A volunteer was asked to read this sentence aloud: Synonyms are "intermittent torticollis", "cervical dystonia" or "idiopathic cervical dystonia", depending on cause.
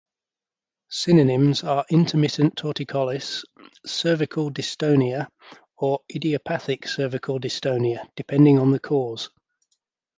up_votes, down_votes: 0, 2